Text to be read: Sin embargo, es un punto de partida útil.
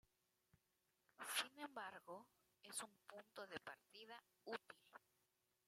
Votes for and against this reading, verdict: 0, 2, rejected